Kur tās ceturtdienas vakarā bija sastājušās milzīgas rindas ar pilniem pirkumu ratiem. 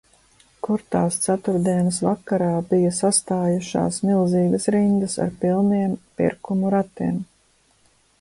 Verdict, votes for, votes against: accepted, 2, 0